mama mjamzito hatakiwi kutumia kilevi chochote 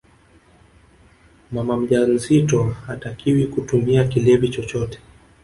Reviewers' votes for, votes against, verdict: 1, 2, rejected